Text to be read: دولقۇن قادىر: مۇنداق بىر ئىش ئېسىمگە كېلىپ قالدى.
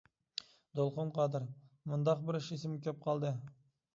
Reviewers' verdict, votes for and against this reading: accepted, 2, 1